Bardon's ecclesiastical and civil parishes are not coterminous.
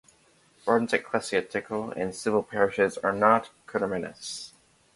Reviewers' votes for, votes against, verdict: 0, 2, rejected